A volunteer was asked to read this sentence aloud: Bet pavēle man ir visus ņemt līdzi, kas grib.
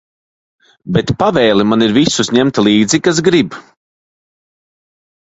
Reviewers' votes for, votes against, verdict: 1, 2, rejected